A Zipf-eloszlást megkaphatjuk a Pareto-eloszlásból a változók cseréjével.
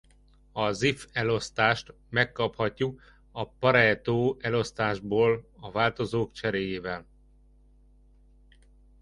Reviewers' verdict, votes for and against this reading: rejected, 1, 2